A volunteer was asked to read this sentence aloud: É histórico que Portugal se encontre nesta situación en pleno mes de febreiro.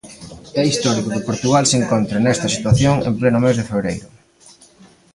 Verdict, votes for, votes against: rejected, 1, 2